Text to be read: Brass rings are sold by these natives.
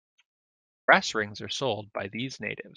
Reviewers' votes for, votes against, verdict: 2, 0, accepted